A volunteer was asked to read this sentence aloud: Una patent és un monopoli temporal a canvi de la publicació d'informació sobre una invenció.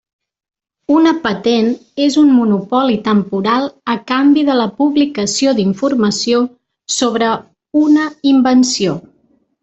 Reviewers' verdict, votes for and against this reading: accepted, 3, 0